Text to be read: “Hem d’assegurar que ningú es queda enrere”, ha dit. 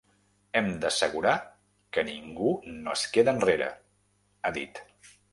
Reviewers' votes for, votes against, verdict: 0, 2, rejected